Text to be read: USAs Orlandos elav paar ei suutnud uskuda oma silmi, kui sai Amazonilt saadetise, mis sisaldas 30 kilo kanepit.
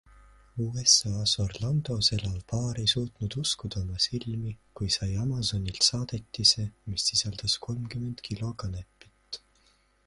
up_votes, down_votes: 0, 2